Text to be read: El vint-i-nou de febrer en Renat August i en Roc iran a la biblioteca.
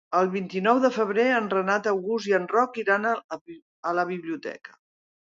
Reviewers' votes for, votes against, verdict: 0, 2, rejected